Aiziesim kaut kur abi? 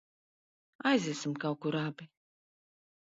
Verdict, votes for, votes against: rejected, 2, 4